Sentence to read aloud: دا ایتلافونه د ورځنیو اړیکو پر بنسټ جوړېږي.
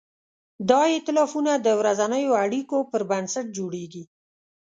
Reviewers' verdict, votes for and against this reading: accepted, 2, 0